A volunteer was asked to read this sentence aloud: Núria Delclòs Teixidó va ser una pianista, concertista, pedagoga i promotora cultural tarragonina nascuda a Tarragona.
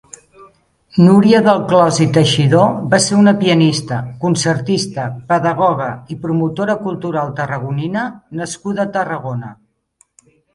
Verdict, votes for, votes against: rejected, 0, 2